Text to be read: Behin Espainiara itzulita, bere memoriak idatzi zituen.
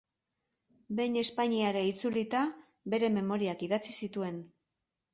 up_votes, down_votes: 2, 0